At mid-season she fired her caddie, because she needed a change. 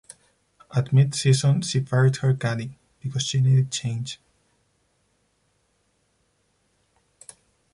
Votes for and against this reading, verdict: 2, 4, rejected